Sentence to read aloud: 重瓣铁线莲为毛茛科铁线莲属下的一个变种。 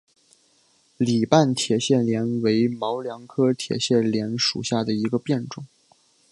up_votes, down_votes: 1, 2